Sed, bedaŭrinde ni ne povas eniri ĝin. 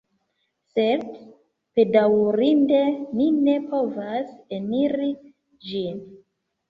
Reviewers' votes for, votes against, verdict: 2, 0, accepted